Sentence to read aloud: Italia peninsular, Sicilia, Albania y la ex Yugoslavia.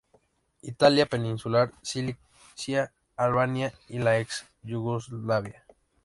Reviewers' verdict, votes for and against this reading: rejected, 0, 2